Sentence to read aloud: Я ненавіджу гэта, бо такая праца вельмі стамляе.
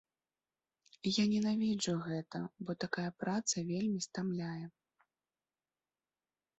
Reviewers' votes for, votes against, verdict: 2, 0, accepted